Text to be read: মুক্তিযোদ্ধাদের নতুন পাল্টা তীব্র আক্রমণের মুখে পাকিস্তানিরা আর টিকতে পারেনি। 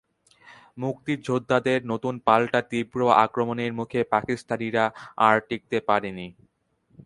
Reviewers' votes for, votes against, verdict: 4, 0, accepted